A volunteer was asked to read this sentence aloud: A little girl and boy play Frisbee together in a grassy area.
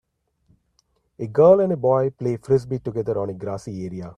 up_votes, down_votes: 0, 2